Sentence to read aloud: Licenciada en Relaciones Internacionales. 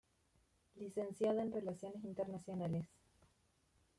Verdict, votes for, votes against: rejected, 1, 3